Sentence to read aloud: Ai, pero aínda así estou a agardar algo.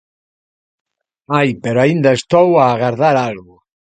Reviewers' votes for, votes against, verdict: 1, 2, rejected